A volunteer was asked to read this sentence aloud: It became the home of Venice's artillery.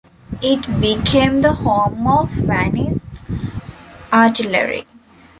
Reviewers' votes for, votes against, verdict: 1, 2, rejected